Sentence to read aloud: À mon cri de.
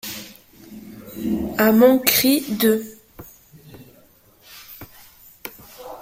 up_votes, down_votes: 2, 1